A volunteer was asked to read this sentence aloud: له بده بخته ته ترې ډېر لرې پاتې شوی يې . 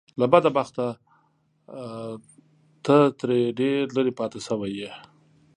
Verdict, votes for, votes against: rejected, 0, 2